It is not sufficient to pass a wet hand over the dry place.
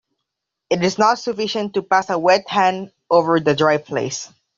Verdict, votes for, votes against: accepted, 2, 0